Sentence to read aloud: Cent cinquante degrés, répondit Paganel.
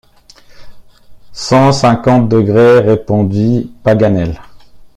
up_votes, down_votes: 2, 0